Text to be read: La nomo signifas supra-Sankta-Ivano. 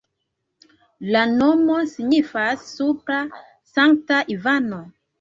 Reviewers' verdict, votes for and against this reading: rejected, 0, 2